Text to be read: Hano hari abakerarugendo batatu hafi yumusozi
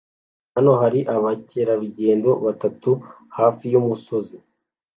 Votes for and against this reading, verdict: 2, 0, accepted